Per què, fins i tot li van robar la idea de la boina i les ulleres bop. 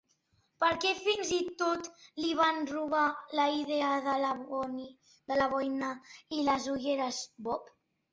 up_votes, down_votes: 0, 2